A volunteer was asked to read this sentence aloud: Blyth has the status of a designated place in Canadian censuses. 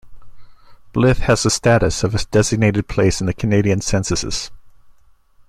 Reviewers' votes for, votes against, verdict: 0, 2, rejected